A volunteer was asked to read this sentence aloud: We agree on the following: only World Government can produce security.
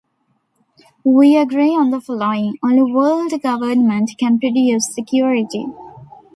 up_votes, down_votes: 0, 2